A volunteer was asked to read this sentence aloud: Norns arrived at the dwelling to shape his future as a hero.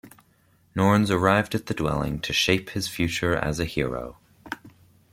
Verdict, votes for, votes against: accepted, 2, 1